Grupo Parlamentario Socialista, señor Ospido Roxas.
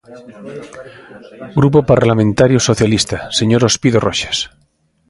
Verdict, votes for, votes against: rejected, 1, 2